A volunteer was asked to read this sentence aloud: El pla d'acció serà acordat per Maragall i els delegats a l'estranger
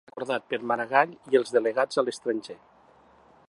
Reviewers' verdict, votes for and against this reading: rejected, 1, 2